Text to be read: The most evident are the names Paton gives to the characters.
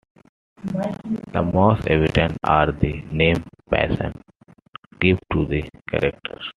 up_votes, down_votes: 1, 2